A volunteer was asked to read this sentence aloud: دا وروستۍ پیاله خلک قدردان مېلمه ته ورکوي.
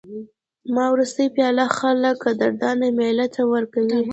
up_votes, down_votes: 1, 2